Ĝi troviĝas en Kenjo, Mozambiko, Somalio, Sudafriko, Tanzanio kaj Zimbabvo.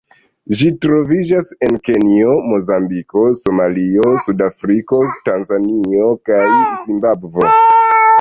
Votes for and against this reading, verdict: 1, 2, rejected